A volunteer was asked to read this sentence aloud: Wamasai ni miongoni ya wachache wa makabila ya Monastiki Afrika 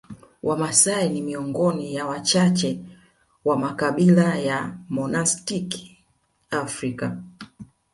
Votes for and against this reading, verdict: 2, 0, accepted